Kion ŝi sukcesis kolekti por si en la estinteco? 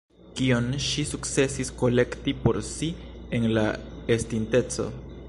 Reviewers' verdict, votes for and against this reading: rejected, 0, 2